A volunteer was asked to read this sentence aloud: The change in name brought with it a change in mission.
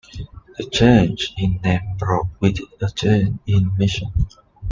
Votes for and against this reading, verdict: 0, 2, rejected